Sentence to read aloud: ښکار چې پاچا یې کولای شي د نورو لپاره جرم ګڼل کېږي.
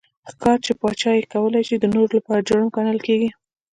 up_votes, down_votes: 1, 2